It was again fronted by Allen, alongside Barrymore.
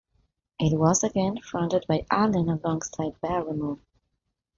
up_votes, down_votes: 2, 0